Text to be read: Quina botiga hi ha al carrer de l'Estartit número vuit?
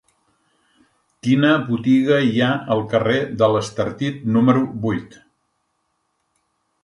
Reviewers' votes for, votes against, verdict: 2, 1, accepted